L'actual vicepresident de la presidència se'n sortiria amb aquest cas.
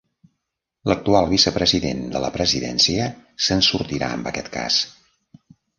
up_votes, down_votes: 0, 2